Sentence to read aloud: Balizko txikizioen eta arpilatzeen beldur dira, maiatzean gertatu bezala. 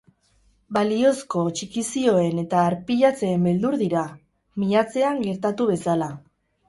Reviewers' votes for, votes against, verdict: 2, 4, rejected